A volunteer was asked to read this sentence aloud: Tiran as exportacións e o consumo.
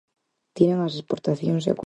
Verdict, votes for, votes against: rejected, 0, 4